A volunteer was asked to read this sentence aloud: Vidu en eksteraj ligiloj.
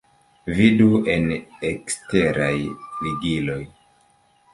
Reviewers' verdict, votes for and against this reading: rejected, 0, 2